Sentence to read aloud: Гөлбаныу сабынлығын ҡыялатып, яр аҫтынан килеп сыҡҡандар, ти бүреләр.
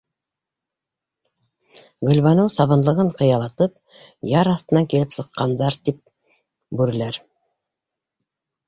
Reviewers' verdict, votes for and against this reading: rejected, 0, 2